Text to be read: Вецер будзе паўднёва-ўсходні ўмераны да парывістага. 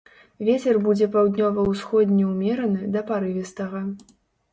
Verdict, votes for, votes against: accepted, 2, 0